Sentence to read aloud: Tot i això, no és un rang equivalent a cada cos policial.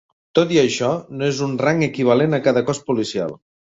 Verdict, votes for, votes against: accepted, 3, 0